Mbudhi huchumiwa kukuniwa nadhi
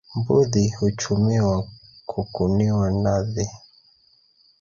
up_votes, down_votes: 1, 2